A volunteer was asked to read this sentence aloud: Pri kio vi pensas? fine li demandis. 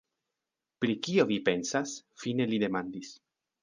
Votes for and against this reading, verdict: 1, 2, rejected